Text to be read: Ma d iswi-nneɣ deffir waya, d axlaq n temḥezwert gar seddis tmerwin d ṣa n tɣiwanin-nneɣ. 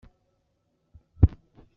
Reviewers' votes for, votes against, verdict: 0, 2, rejected